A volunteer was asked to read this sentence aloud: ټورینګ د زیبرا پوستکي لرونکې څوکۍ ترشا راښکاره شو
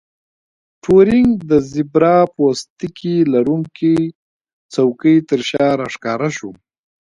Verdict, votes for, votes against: accepted, 2, 0